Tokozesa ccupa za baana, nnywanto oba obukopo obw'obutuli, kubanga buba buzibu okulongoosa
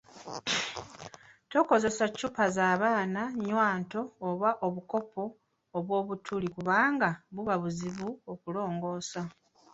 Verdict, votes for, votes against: rejected, 1, 2